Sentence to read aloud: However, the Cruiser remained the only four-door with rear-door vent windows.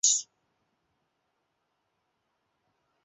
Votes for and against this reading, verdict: 0, 2, rejected